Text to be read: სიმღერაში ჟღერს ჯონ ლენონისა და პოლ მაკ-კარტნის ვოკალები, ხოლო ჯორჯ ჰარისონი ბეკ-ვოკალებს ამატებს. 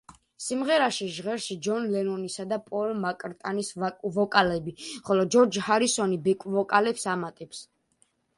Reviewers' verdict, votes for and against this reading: rejected, 0, 2